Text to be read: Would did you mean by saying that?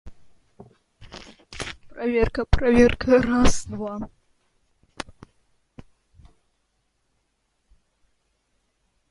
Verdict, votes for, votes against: rejected, 0, 2